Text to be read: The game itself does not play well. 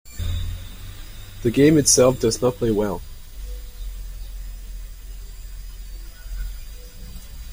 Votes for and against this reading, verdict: 2, 0, accepted